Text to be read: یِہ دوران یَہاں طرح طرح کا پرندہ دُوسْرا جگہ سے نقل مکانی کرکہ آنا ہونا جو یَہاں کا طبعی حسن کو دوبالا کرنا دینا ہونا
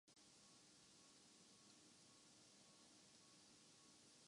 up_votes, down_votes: 0, 2